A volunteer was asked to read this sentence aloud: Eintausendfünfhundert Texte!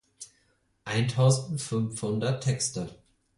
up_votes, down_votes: 4, 0